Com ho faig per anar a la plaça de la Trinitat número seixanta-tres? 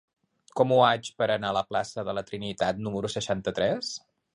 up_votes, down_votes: 1, 2